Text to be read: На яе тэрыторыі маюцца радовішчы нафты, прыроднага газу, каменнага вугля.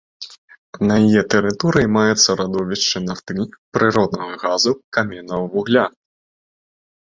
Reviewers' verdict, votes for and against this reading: rejected, 0, 2